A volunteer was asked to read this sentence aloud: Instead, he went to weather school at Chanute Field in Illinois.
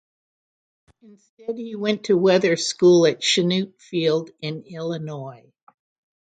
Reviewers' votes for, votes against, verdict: 0, 3, rejected